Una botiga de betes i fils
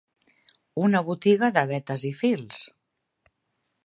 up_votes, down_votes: 2, 0